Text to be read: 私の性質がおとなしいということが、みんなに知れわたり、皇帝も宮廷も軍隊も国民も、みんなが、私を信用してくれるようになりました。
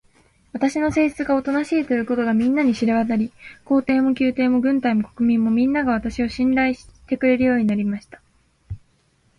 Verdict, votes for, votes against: rejected, 1, 2